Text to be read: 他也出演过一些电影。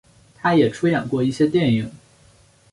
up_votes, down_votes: 7, 0